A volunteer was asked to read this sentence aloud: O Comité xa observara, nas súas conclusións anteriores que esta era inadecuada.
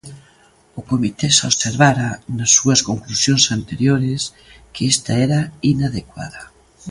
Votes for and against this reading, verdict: 2, 0, accepted